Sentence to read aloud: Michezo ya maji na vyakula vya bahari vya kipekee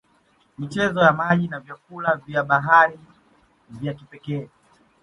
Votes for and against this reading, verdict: 2, 0, accepted